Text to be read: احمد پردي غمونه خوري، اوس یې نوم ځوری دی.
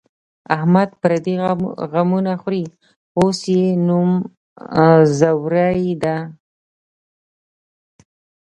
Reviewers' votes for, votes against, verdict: 1, 3, rejected